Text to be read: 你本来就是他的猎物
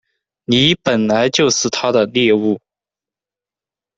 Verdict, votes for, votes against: rejected, 1, 2